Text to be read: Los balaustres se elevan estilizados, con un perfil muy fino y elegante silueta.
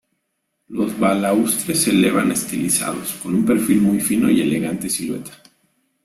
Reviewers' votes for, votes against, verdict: 2, 0, accepted